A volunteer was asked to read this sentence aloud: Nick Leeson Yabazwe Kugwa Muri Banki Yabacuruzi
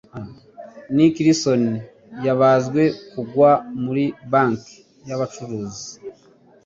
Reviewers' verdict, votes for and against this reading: accepted, 2, 1